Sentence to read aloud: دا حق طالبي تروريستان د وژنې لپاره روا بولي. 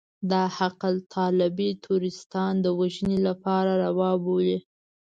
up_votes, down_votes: 1, 2